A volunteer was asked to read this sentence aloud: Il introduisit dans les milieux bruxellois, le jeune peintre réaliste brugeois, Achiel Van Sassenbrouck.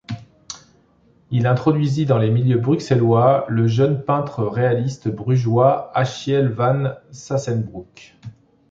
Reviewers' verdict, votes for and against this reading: accepted, 2, 0